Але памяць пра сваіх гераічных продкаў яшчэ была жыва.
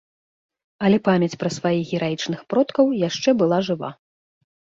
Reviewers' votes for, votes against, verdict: 2, 0, accepted